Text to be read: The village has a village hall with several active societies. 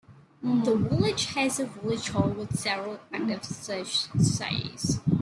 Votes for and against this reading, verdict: 0, 2, rejected